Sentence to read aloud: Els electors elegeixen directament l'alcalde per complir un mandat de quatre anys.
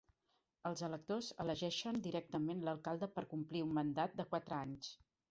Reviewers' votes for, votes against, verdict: 4, 0, accepted